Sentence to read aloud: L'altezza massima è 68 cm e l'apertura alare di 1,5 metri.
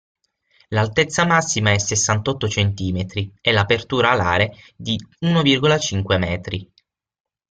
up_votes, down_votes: 0, 2